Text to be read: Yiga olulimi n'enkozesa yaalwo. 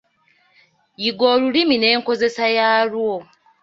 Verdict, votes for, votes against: accepted, 2, 0